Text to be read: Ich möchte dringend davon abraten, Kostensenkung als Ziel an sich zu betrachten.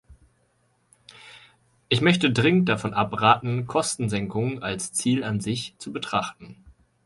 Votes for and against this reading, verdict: 4, 0, accepted